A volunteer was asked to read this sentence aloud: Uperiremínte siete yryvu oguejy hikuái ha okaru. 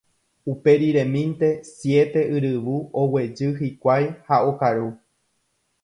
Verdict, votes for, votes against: accepted, 2, 0